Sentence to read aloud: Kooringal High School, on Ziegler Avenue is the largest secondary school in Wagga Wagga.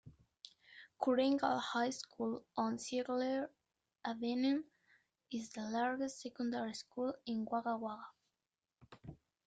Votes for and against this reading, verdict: 2, 1, accepted